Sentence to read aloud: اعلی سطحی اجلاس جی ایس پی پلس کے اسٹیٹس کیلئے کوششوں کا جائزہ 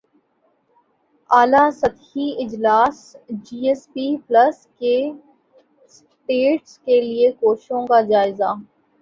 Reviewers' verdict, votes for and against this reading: rejected, 1, 3